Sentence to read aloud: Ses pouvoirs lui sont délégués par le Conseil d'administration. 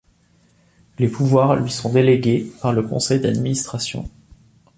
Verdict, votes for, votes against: rejected, 0, 2